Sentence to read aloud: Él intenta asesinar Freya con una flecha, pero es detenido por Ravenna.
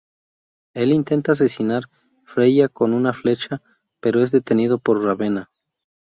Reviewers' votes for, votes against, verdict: 2, 0, accepted